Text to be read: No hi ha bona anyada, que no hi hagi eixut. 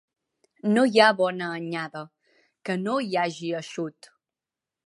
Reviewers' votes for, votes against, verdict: 2, 0, accepted